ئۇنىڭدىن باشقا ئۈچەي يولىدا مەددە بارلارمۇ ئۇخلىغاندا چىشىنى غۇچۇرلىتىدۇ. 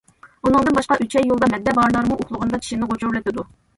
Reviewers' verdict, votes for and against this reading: accepted, 2, 0